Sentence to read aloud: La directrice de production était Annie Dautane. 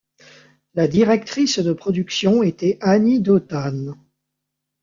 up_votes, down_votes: 2, 0